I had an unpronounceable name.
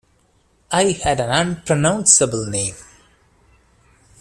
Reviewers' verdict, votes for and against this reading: accepted, 2, 1